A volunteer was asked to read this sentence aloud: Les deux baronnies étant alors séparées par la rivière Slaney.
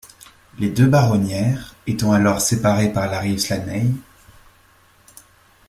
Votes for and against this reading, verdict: 0, 2, rejected